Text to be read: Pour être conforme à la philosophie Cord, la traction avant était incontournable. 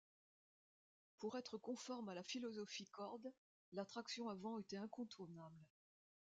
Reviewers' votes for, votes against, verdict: 2, 0, accepted